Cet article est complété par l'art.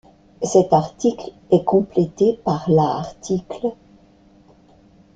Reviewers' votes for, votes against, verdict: 0, 2, rejected